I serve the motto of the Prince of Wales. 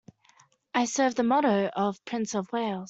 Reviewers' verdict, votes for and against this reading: rejected, 1, 2